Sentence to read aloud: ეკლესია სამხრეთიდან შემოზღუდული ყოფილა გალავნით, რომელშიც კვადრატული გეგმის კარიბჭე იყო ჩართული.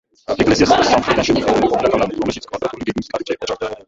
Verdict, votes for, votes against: rejected, 0, 3